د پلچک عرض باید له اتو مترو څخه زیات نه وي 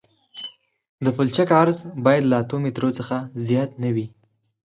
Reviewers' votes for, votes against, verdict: 6, 0, accepted